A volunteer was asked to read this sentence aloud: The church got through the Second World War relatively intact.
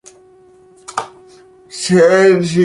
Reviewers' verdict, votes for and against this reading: rejected, 0, 2